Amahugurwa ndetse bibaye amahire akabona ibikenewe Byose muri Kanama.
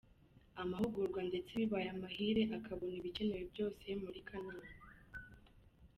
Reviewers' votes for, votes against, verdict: 2, 0, accepted